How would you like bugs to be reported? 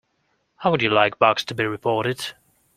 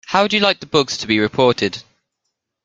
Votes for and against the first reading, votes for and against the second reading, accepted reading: 2, 0, 0, 2, first